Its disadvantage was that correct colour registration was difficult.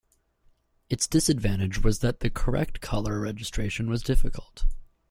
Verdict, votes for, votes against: rejected, 0, 2